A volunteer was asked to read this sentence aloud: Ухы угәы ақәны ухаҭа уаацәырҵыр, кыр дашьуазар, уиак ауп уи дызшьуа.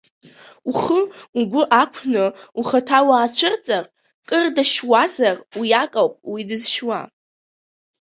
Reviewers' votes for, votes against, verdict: 0, 2, rejected